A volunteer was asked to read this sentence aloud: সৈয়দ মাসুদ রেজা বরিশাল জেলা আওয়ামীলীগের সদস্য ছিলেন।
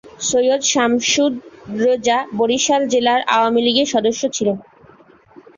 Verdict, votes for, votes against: rejected, 0, 4